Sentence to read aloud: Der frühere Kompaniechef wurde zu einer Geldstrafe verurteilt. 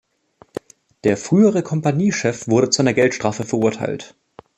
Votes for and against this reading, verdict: 2, 0, accepted